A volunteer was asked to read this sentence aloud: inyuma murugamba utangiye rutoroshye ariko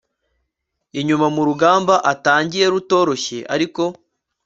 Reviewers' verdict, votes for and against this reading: accepted, 2, 0